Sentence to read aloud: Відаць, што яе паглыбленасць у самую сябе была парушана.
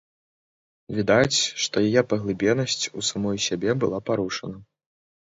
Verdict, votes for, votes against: rejected, 0, 2